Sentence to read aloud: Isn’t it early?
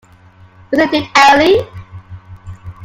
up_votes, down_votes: 1, 2